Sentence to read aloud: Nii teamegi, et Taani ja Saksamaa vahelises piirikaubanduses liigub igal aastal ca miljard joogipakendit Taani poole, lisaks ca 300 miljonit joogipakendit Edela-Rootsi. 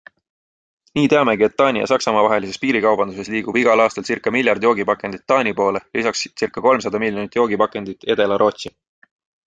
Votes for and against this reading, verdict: 0, 2, rejected